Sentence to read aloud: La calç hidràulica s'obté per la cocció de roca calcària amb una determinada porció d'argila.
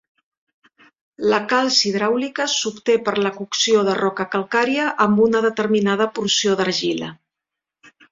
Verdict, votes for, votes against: accepted, 4, 0